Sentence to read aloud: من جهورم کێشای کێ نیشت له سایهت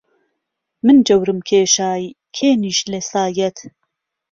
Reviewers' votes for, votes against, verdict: 2, 0, accepted